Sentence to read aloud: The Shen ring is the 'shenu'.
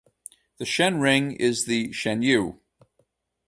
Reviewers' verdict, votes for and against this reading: accepted, 2, 0